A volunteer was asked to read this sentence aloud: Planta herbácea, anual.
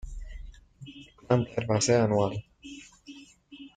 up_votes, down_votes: 1, 2